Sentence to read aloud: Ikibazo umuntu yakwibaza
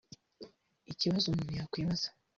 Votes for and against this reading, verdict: 1, 2, rejected